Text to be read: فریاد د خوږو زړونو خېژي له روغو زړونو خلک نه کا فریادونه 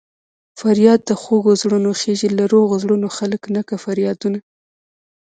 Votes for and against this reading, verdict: 2, 0, accepted